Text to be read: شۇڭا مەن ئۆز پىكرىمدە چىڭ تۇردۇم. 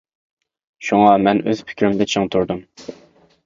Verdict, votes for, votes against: accepted, 2, 0